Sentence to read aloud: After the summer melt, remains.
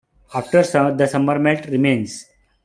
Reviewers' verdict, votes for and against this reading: accepted, 2, 1